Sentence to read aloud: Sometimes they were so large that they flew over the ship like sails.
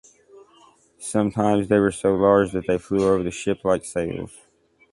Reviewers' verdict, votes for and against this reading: accepted, 2, 0